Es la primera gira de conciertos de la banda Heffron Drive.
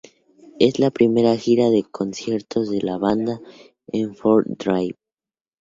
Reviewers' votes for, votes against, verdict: 2, 0, accepted